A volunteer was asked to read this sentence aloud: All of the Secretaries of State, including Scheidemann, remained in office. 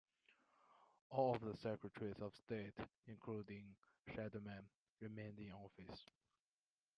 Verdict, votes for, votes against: rejected, 0, 2